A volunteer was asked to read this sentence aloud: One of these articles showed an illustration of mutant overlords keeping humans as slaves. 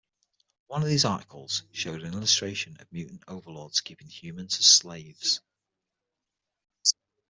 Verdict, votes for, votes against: accepted, 6, 0